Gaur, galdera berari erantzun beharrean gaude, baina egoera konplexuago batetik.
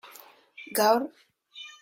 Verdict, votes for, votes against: rejected, 0, 2